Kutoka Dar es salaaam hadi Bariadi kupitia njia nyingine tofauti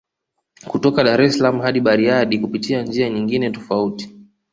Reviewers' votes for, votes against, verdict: 2, 0, accepted